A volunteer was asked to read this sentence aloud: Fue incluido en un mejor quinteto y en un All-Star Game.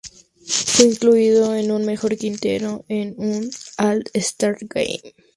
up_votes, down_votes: 0, 2